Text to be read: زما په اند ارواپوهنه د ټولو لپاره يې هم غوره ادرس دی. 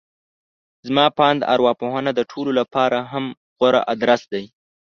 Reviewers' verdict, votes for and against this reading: rejected, 1, 2